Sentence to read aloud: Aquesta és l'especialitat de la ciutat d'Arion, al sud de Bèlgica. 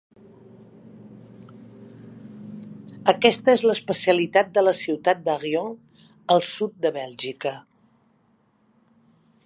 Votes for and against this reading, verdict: 1, 2, rejected